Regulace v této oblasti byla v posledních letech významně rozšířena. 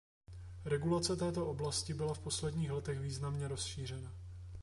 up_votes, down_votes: 1, 2